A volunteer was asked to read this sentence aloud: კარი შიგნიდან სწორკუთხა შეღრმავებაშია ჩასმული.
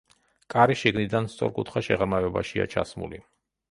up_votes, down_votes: 2, 0